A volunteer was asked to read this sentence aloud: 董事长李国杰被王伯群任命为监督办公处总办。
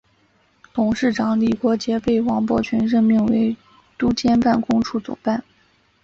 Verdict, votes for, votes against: rejected, 1, 3